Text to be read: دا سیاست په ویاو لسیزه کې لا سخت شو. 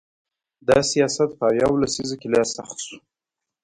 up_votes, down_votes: 2, 0